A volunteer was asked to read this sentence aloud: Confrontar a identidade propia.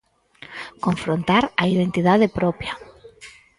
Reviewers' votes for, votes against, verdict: 2, 4, rejected